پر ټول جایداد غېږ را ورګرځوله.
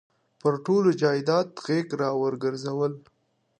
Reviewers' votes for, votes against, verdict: 2, 0, accepted